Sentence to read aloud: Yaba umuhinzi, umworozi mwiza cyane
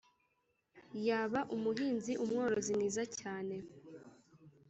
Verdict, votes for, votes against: accepted, 2, 0